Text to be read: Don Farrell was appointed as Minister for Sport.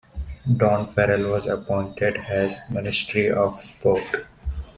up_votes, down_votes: 0, 2